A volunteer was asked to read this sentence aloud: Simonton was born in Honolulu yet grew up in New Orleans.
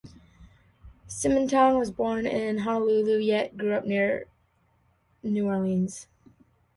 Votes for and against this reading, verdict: 1, 2, rejected